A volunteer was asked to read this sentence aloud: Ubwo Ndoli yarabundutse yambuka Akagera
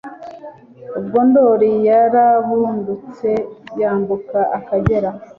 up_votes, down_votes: 2, 0